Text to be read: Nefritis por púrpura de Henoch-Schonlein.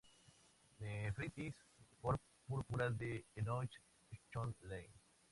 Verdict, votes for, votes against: rejected, 0, 4